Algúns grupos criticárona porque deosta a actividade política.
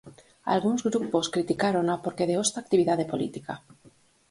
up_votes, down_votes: 4, 0